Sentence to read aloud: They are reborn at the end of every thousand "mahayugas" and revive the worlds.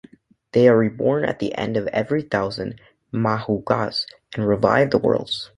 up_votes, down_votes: 2, 3